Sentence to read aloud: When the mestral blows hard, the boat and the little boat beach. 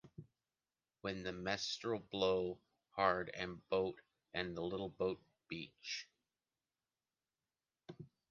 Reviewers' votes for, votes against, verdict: 0, 2, rejected